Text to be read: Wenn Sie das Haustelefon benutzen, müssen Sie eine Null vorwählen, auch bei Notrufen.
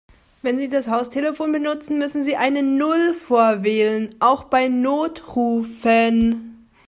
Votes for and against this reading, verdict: 2, 0, accepted